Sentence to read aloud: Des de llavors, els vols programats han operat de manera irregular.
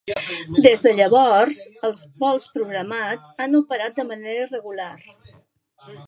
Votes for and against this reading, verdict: 1, 2, rejected